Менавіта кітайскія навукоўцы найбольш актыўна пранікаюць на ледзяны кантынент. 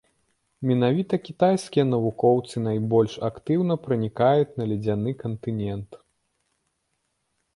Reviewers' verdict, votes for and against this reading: rejected, 1, 2